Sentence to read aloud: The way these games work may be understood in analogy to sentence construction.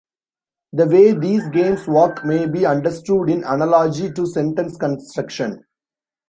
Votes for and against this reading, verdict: 1, 2, rejected